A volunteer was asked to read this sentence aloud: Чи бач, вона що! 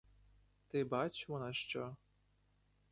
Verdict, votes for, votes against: rejected, 0, 2